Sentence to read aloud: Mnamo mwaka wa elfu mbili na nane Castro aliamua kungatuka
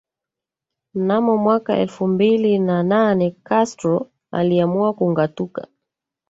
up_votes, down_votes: 1, 2